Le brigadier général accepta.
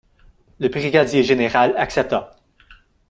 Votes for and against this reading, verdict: 1, 2, rejected